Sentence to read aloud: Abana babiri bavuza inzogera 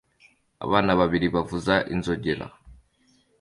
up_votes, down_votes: 2, 0